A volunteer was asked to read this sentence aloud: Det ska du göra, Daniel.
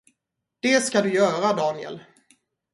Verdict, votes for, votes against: rejected, 0, 2